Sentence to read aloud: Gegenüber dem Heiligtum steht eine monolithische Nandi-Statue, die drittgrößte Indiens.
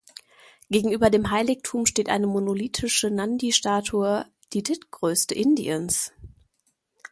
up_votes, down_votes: 0, 2